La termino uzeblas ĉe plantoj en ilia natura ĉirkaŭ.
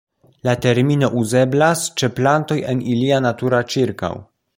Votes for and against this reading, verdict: 2, 0, accepted